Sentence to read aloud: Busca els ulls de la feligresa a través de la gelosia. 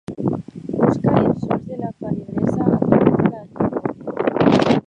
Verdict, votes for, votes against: rejected, 0, 2